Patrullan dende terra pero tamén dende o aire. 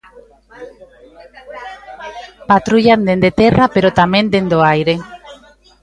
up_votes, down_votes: 2, 0